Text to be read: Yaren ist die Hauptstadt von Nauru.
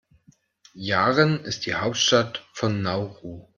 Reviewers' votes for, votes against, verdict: 2, 0, accepted